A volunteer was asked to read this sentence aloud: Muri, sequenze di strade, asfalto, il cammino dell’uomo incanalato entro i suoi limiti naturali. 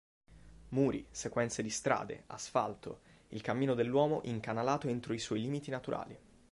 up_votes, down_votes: 2, 0